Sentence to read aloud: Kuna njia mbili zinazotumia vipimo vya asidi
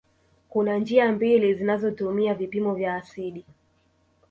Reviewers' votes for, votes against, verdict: 2, 0, accepted